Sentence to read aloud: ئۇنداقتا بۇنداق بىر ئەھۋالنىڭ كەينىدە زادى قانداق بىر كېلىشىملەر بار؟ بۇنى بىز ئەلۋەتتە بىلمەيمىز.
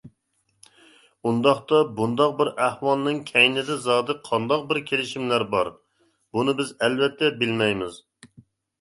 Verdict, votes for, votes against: accepted, 2, 0